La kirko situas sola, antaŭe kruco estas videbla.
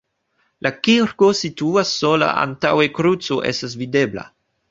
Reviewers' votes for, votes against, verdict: 1, 2, rejected